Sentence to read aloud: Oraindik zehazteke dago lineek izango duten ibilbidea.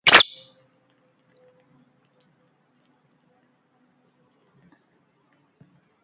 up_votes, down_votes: 0, 3